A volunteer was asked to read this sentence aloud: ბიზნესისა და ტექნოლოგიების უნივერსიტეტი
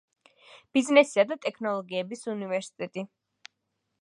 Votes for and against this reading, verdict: 3, 0, accepted